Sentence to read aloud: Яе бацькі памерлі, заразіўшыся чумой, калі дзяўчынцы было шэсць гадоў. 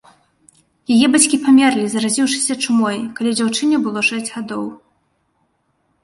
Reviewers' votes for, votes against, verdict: 1, 2, rejected